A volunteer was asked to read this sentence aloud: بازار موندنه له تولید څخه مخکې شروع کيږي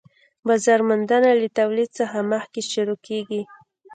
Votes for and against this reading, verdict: 2, 0, accepted